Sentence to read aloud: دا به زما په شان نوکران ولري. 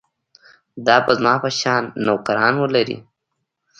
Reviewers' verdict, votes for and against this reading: accepted, 2, 0